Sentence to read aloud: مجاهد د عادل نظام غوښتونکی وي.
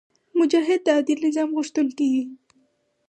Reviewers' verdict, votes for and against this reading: accepted, 4, 0